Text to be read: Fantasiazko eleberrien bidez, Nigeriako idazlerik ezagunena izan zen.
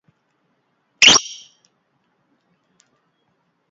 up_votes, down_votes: 0, 2